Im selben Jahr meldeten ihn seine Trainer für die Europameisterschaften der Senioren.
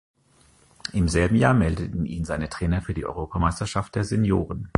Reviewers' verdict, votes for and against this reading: rejected, 1, 2